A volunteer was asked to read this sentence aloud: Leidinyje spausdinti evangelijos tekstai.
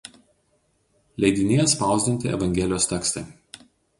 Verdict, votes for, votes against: accepted, 2, 0